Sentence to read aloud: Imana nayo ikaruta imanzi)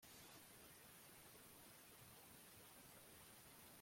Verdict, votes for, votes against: rejected, 0, 2